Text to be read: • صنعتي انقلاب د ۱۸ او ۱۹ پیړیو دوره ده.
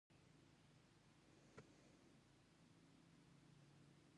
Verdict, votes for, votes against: rejected, 0, 2